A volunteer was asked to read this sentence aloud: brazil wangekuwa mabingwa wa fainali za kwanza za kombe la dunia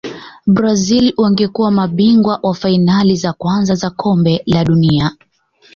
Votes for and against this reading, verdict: 2, 0, accepted